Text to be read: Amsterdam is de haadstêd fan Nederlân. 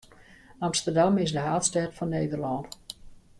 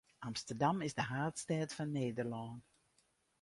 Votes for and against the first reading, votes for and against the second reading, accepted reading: 2, 0, 0, 2, first